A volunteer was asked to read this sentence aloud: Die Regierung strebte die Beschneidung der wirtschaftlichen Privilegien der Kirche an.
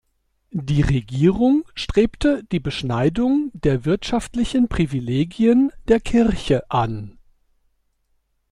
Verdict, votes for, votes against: accepted, 2, 0